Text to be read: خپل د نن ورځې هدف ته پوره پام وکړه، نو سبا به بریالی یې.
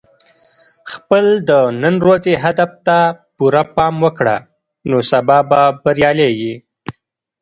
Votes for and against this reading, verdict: 1, 2, rejected